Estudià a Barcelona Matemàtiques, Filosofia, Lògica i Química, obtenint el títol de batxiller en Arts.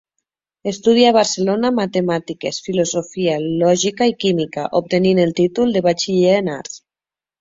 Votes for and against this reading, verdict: 2, 0, accepted